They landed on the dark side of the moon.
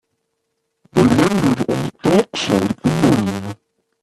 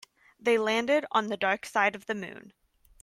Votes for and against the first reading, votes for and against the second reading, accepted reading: 0, 2, 2, 0, second